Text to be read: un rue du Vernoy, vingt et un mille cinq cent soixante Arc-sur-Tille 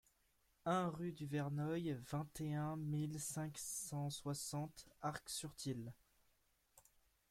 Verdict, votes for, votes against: rejected, 1, 2